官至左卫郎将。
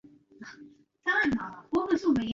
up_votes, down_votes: 1, 4